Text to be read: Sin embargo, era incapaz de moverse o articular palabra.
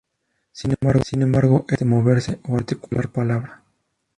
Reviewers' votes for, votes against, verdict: 0, 2, rejected